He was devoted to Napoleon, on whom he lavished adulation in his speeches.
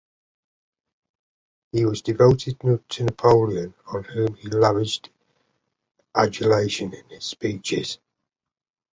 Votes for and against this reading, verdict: 0, 2, rejected